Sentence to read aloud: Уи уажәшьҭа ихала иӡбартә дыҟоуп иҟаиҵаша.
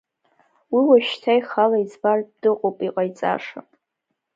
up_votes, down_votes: 3, 2